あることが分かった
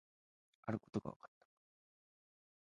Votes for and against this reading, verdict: 1, 2, rejected